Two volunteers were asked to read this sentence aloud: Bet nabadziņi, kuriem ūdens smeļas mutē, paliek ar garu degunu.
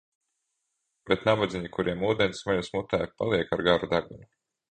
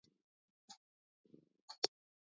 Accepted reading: first